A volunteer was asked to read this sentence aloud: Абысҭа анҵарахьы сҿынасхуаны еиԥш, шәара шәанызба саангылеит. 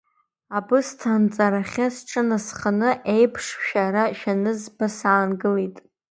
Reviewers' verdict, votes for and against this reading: rejected, 1, 2